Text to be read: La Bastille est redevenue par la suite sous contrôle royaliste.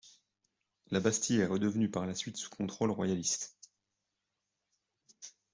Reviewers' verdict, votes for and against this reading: accepted, 2, 0